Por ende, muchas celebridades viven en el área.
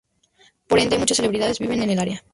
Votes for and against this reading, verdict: 0, 2, rejected